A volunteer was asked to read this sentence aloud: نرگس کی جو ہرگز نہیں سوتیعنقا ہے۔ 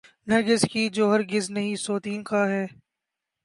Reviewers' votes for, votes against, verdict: 2, 0, accepted